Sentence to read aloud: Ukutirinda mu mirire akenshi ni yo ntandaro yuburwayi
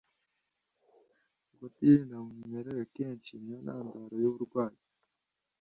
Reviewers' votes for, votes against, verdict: 2, 1, accepted